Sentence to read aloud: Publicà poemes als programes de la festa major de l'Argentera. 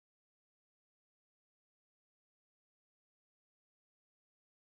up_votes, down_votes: 1, 2